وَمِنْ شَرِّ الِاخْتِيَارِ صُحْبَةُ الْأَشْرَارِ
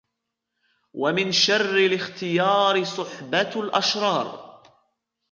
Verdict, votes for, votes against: accepted, 2, 0